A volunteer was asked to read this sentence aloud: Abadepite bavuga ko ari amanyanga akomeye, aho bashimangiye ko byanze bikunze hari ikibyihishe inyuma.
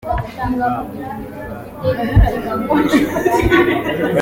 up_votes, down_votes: 0, 2